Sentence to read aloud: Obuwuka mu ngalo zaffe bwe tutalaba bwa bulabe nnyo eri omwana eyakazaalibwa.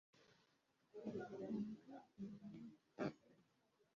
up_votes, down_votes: 0, 2